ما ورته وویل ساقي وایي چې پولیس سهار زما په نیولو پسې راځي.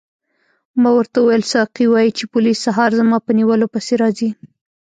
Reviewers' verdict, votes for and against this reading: rejected, 1, 2